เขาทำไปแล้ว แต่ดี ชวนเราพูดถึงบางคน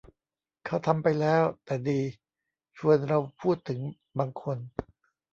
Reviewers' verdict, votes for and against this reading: rejected, 0, 2